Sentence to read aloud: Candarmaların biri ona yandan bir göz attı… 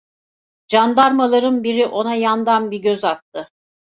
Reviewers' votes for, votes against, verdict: 2, 0, accepted